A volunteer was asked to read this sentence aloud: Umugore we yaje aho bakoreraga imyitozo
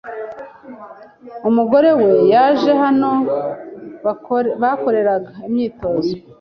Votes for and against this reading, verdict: 1, 2, rejected